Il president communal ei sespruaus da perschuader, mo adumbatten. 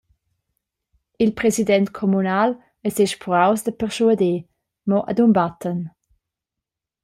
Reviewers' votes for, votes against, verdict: 1, 2, rejected